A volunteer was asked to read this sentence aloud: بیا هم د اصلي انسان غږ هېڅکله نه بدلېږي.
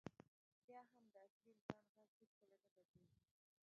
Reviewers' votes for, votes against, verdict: 2, 1, accepted